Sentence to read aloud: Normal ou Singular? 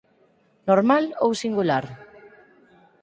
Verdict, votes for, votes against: accepted, 4, 0